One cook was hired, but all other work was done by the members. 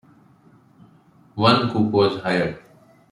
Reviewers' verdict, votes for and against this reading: rejected, 0, 2